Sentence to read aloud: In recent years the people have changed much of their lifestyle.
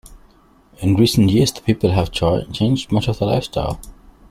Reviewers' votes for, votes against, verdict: 1, 2, rejected